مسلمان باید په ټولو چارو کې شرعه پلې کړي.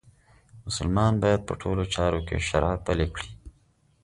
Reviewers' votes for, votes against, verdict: 2, 0, accepted